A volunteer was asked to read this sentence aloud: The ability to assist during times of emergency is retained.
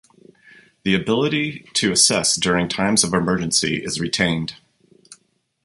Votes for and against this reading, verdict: 2, 1, accepted